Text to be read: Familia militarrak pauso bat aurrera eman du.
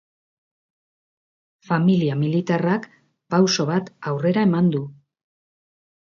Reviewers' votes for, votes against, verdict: 2, 0, accepted